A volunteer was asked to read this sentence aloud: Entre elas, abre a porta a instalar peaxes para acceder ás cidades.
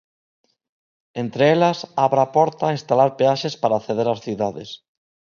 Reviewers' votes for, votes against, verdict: 2, 0, accepted